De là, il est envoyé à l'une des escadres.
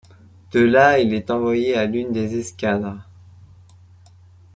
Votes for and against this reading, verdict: 0, 2, rejected